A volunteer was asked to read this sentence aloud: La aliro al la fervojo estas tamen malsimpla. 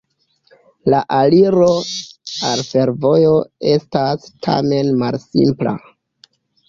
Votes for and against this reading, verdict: 1, 2, rejected